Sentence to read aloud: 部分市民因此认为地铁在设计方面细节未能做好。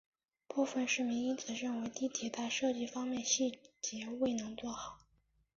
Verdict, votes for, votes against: accepted, 2, 0